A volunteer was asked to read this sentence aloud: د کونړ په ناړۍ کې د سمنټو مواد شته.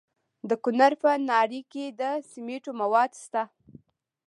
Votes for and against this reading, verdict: 2, 0, accepted